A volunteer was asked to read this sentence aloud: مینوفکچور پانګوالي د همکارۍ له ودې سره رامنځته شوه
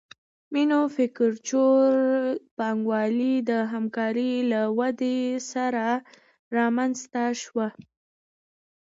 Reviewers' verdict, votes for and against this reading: accepted, 2, 0